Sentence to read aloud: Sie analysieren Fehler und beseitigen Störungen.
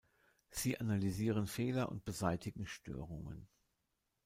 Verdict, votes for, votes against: rejected, 1, 2